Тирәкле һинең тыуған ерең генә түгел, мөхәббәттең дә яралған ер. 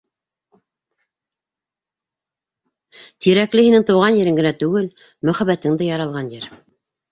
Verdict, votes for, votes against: rejected, 1, 2